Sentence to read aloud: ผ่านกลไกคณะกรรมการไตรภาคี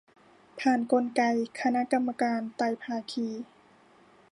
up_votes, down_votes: 2, 0